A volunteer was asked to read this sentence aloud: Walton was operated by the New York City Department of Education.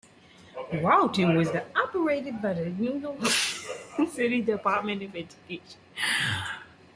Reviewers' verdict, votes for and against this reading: rejected, 1, 2